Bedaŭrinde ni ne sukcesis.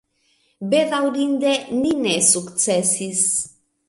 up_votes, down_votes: 2, 1